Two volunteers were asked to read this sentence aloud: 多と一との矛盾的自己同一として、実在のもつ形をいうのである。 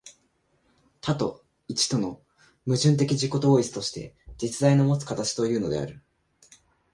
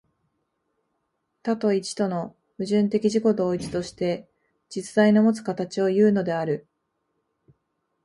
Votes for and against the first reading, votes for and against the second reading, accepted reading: 0, 2, 2, 0, second